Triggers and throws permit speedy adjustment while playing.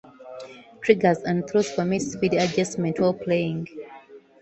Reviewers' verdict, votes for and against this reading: rejected, 1, 2